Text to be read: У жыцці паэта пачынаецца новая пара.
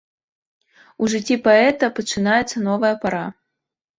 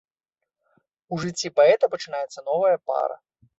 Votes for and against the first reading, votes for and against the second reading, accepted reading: 3, 0, 0, 2, first